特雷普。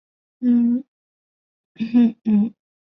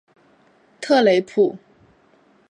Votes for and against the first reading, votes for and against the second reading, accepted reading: 0, 2, 3, 0, second